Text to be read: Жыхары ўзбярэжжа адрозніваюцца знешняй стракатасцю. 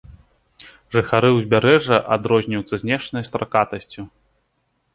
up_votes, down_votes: 2, 0